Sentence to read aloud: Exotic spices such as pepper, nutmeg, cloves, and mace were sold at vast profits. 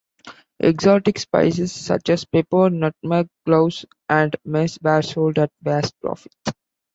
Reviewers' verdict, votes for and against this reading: accepted, 2, 1